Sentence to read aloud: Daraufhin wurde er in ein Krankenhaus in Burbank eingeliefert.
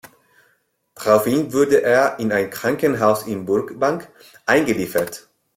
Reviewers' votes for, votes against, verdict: 2, 1, accepted